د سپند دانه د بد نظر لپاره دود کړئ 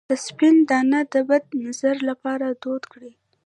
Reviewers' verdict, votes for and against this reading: rejected, 1, 2